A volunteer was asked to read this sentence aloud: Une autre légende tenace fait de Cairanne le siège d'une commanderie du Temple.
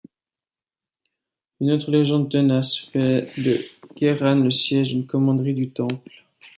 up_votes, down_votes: 2, 1